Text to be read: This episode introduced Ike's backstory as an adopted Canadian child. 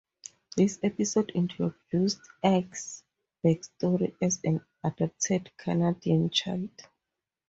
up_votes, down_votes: 2, 0